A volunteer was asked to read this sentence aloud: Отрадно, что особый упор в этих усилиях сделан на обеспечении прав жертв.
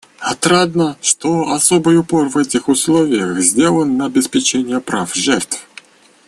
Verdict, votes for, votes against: rejected, 1, 2